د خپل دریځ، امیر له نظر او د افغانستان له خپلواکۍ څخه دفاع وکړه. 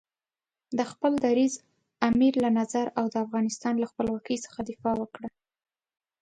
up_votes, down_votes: 2, 0